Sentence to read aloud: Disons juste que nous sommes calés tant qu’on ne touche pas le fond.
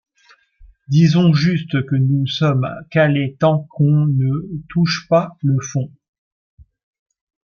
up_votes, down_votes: 1, 2